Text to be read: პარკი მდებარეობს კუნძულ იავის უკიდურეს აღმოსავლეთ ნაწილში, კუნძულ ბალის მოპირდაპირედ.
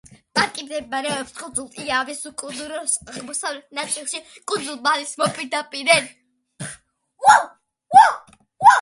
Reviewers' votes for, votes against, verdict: 0, 2, rejected